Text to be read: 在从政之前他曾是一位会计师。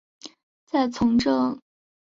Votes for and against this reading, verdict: 0, 4, rejected